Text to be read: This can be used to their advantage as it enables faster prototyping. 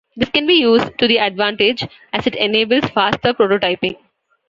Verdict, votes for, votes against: accepted, 2, 1